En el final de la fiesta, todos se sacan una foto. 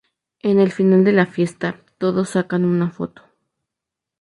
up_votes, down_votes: 0, 2